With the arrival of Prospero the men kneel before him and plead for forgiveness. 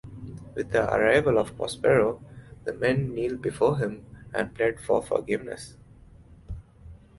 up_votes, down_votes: 2, 1